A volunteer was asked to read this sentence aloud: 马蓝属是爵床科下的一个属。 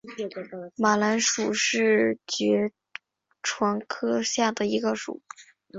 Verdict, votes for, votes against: accepted, 3, 0